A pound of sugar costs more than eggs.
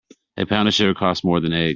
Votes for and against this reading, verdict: 0, 2, rejected